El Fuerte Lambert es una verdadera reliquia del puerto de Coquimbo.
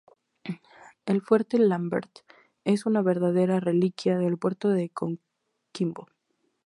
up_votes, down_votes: 2, 0